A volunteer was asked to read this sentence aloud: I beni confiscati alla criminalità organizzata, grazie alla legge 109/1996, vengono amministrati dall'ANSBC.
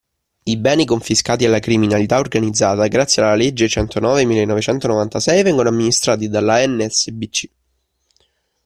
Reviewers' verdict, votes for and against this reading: rejected, 0, 2